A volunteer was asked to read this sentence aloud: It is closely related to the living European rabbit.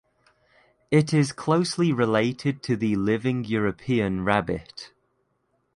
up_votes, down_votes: 2, 0